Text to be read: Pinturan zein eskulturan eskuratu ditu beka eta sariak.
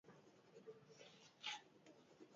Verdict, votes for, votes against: rejected, 0, 2